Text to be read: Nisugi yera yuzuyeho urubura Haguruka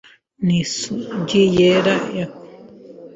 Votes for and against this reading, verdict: 1, 3, rejected